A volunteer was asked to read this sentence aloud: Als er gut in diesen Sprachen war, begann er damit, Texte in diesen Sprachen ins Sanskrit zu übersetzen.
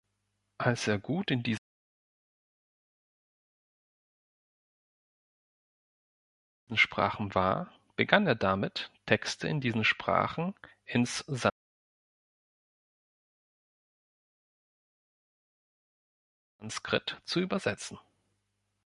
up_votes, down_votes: 0, 2